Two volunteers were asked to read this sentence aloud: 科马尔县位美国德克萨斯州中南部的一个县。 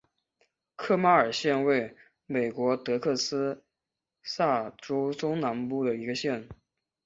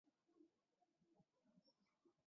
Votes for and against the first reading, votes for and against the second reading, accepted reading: 4, 0, 1, 5, first